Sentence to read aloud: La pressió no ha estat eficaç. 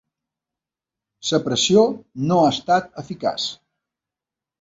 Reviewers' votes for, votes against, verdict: 0, 2, rejected